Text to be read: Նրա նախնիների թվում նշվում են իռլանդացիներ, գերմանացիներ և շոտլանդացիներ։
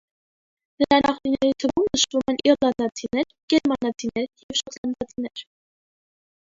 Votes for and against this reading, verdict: 1, 2, rejected